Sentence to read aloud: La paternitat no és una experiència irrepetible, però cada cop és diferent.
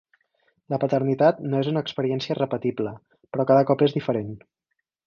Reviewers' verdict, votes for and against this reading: rejected, 0, 4